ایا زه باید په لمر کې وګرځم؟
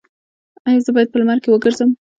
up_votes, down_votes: 2, 1